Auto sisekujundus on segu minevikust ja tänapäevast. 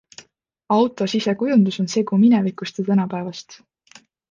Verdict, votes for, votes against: accepted, 2, 0